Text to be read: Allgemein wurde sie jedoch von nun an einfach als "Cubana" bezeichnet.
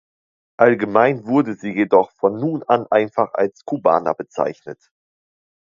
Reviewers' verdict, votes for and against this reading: accepted, 2, 0